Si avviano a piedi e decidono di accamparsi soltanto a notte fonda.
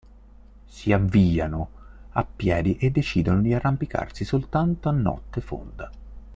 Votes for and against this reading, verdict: 1, 2, rejected